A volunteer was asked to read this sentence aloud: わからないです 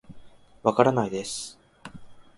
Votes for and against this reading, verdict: 2, 0, accepted